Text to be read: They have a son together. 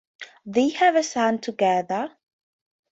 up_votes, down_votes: 2, 0